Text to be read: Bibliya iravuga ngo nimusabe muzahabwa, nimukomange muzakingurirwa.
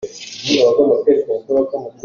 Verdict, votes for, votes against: rejected, 0, 2